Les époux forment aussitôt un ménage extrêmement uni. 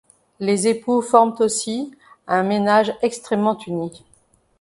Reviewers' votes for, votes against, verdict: 0, 2, rejected